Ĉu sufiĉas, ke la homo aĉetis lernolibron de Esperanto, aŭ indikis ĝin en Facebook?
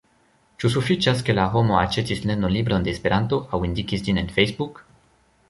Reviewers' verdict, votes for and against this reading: rejected, 1, 2